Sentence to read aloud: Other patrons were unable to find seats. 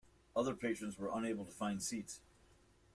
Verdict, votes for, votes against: accepted, 2, 0